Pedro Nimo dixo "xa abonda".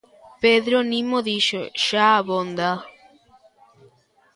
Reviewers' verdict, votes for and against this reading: rejected, 1, 2